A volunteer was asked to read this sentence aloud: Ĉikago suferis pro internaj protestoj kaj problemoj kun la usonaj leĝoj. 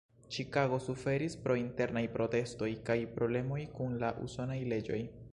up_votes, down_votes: 1, 2